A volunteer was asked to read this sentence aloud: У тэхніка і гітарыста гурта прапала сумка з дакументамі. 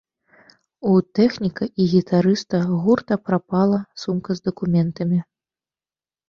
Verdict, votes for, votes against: accepted, 3, 0